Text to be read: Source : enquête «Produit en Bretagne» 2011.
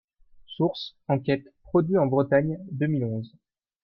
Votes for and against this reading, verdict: 0, 2, rejected